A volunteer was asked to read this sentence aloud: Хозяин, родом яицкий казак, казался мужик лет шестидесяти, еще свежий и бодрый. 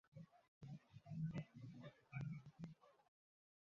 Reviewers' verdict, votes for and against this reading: rejected, 0, 2